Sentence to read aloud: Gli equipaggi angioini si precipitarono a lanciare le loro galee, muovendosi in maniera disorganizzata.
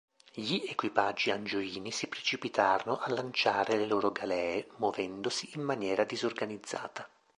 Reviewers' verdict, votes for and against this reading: accepted, 2, 0